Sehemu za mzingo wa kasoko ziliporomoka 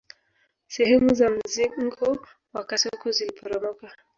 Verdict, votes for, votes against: rejected, 1, 2